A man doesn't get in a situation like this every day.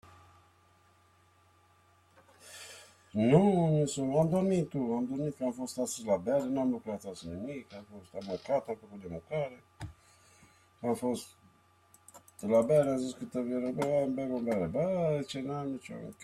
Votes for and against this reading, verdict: 0, 3, rejected